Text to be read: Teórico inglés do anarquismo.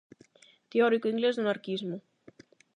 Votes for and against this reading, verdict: 8, 0, accepted